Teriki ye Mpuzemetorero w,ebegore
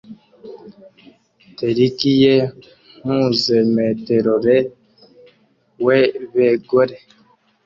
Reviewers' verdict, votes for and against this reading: rejected, 0, 2